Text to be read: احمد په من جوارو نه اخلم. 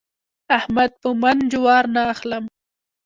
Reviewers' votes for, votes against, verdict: 2, 0, accepted